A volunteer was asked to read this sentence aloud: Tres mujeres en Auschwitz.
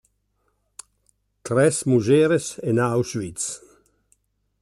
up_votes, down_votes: 3, 0